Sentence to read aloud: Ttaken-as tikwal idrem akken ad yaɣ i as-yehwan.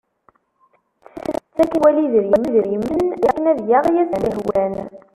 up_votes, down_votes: 0, 2